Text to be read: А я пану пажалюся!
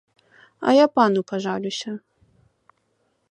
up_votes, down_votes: 2, 0